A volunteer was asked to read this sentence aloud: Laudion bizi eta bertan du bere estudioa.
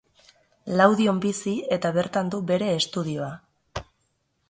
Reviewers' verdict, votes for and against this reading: accepted, 2, 0